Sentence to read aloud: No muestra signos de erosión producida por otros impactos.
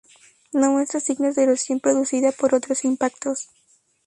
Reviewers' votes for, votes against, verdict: 0, 2, rejected